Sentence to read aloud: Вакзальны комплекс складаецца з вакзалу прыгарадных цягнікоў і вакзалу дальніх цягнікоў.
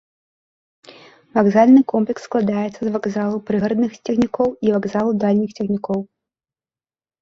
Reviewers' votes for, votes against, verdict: 2, 1, accepted